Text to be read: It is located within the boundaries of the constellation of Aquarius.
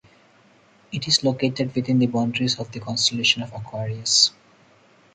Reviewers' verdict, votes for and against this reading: accepted, 4, 0